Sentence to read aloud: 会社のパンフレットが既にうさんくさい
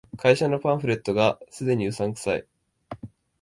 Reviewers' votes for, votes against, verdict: 2, 0, accepted